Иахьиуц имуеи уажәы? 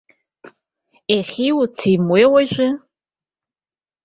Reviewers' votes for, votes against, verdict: 2, 0, accepted